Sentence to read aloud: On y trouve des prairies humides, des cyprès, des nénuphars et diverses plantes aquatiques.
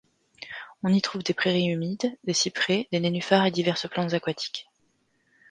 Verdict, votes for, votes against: accepted, 2, 0